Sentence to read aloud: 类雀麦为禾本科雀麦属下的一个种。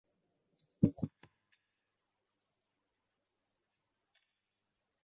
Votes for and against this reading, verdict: 0, 4, rejected